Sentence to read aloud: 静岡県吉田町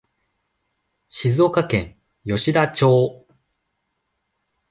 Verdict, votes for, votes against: accepted, 2, 0